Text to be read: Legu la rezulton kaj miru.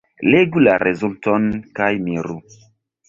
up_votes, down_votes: 1, 2